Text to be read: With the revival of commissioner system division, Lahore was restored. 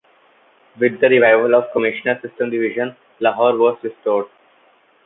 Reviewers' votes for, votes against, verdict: 2, 0, accepted